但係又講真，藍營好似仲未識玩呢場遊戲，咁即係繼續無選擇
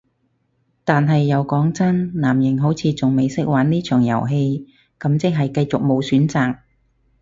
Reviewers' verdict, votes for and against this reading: rejected, 2, 2